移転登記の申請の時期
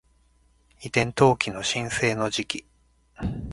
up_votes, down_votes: 2, 0